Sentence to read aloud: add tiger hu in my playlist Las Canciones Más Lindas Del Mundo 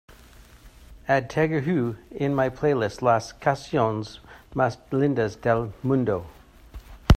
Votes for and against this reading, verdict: 2, 1, accepted